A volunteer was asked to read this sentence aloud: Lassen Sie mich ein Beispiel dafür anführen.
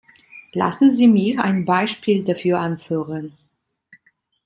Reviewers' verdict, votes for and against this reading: accepted, 2, 0